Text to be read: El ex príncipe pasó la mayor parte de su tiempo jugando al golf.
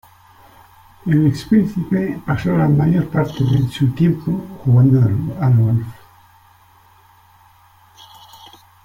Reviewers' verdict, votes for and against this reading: rejected, 0, 2